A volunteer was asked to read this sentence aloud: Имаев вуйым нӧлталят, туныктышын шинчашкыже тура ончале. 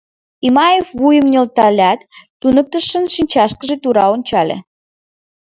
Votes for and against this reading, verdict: 2, 0, accepted